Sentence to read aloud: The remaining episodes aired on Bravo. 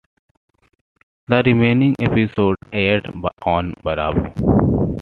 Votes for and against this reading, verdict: 1, 2, rejected